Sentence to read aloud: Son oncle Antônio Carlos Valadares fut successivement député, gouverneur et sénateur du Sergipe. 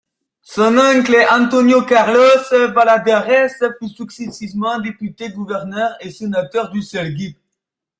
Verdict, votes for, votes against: rejected, 0, 2